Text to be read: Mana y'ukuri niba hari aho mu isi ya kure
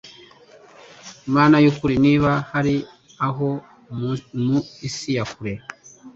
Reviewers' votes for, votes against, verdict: 2, 0, accepted